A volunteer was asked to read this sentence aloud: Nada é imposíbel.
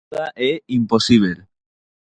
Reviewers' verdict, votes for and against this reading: rejected, 0, 4